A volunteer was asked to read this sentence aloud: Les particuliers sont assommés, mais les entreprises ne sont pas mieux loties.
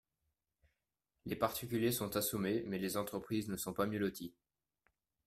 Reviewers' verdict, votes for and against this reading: accepted, 2, 1